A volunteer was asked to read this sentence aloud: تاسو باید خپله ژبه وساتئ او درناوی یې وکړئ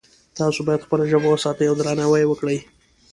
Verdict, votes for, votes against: accepted, 2, 0